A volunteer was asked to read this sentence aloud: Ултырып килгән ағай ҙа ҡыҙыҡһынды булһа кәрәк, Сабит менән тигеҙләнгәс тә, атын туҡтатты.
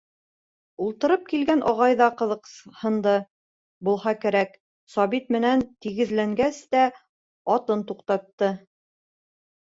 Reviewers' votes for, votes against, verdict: 2, 0, accepted